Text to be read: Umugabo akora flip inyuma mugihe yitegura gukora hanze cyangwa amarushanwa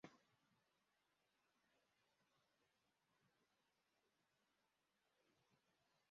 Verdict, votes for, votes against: rejected, 0, 2